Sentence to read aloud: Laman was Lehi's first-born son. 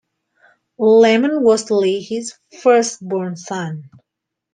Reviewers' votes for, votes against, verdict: 2, 0, accepted